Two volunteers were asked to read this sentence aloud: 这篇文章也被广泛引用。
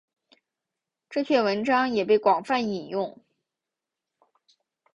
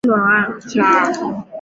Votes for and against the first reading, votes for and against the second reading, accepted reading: 6, 0, 0, 2, first